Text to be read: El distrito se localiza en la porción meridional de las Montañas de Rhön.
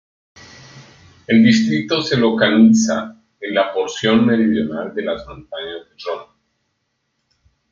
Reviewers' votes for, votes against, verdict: 0, 2, rejected